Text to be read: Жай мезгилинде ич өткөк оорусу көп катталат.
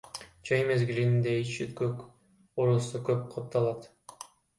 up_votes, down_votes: 2, 1